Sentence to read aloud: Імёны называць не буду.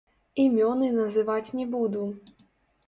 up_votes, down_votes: 0, 2